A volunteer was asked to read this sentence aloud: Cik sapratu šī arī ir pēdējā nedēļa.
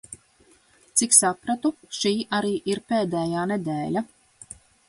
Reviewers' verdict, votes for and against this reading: accepted, 3, 0